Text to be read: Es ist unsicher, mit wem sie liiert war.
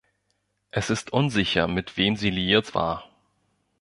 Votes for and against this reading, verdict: 1, 2, rejected